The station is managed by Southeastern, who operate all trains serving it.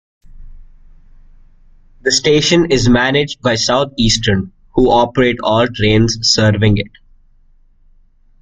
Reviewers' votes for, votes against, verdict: 3, 0, accepted